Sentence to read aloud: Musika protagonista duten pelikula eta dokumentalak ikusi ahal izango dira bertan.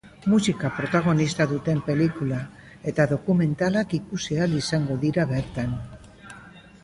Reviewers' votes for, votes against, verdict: 0, 2, rejected